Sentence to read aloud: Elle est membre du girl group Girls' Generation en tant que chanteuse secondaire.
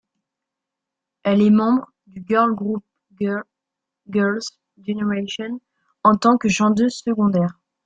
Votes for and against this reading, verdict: 0, 2, rejected